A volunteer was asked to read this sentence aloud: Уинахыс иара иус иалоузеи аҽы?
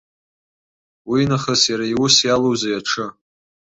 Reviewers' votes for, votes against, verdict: 2, 0, accepted